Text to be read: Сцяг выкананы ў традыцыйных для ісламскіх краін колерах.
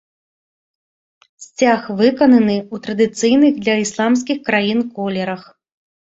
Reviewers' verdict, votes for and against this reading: accepted, 2, 0